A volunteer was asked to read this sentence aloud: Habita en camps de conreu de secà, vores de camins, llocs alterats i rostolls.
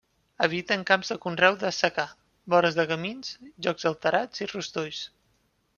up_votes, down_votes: 1, 2